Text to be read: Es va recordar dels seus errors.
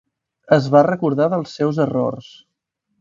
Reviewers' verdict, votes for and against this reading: accepted, 3, 0